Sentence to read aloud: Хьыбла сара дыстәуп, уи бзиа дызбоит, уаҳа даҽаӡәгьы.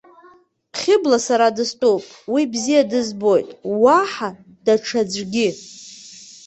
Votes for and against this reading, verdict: 2, 0, accepted